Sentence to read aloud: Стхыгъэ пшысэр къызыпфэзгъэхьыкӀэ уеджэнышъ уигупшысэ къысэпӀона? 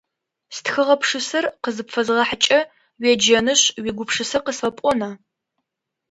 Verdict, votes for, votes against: accepted, 2, 0